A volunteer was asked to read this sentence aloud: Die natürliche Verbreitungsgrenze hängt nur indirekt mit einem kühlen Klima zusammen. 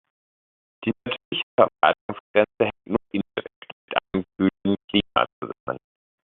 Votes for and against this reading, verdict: 0, 2, rejected